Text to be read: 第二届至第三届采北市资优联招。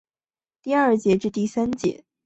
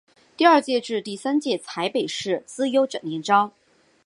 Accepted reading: second